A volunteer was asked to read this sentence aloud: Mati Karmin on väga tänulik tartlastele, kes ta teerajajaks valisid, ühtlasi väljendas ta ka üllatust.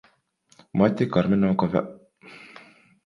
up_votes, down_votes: 0, 2